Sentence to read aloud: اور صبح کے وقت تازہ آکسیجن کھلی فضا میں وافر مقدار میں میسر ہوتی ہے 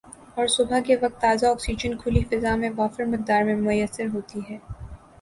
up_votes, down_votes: 2, 0